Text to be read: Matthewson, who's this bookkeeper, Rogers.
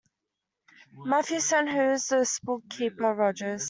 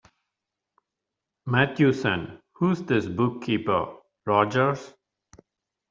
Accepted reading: second